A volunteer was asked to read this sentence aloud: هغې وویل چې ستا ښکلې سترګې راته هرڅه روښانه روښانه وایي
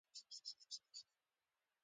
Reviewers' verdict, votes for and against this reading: rejected, 0, 2